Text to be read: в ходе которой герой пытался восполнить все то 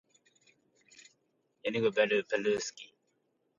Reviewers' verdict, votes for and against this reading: rejected, 0, 2